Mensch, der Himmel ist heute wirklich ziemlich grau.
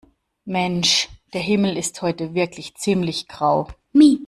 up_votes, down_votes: 1, 2